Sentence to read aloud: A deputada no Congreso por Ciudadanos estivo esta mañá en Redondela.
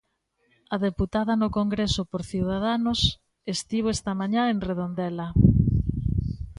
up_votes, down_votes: 2, 0